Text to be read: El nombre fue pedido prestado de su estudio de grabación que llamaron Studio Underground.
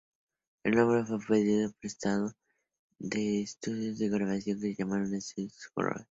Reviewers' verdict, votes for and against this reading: rejected, 2, 2